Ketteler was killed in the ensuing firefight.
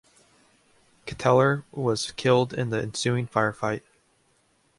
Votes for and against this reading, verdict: 2, 0, accepted